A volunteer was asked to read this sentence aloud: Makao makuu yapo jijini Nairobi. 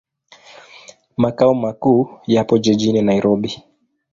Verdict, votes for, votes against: accepted, 2, 0